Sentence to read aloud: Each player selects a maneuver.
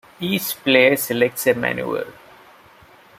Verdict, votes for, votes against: rejected, 1, 2